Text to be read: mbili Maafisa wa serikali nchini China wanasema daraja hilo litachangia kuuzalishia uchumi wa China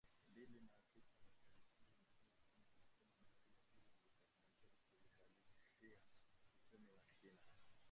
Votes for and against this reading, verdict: 0, 2, rejected